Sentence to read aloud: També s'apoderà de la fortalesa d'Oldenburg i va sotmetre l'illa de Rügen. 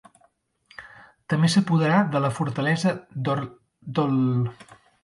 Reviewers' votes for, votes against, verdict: 0, 2, rejected